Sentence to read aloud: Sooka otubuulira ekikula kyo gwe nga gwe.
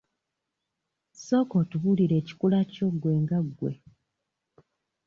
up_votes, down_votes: 2, 1